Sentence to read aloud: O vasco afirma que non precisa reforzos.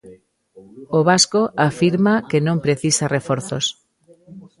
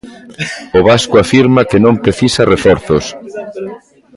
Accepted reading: second